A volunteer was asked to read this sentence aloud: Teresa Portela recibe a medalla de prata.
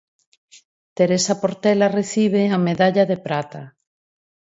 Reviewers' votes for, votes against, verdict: 4, 0, accepted